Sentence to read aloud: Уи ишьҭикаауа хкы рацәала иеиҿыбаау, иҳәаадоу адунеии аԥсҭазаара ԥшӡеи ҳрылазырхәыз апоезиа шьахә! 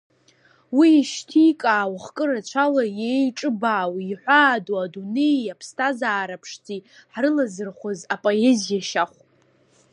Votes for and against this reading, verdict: 2, 1, accepted